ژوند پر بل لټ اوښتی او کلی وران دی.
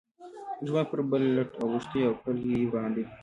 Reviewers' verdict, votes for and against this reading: rejected, 1, 2